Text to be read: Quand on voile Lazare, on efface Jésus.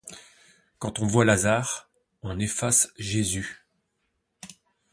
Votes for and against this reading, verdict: 1, 2, rejected